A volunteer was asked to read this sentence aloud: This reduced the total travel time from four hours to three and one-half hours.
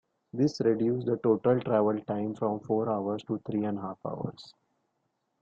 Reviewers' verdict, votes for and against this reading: rejected, 1, 4